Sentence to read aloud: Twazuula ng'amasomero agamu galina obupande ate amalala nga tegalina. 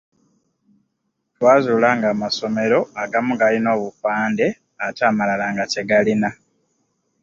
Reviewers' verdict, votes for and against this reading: accepted, 2, 0